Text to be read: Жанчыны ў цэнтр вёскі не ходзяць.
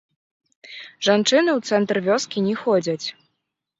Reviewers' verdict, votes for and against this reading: rejected, 1, 2